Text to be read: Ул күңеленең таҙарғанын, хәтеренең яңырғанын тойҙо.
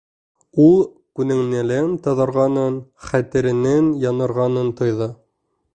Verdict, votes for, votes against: rejected, 1, 2